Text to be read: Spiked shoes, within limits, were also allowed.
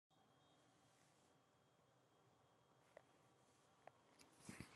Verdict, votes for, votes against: rejected, 0, 2